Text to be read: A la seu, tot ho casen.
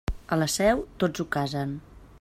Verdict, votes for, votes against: rejected, 0, 2